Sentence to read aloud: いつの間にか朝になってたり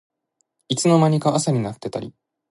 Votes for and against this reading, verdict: 2, 1, accepted